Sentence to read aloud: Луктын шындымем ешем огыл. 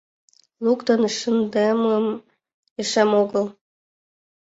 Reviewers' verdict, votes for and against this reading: rejected, 0, 2